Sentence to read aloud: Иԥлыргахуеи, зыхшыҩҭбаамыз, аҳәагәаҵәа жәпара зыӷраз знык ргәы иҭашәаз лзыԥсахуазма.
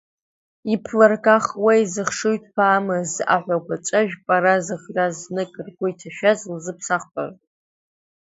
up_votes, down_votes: 1, 2